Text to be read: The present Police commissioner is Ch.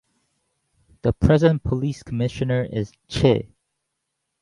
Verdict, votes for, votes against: accepted, 4, 0